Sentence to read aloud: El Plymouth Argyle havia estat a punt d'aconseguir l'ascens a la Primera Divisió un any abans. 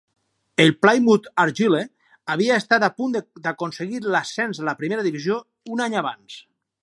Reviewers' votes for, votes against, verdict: 0, 4, rejected